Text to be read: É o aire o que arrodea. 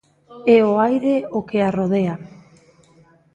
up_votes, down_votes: 3, 0